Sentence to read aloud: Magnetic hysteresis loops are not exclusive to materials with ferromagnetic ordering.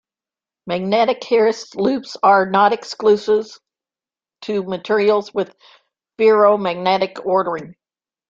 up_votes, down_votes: 0, 3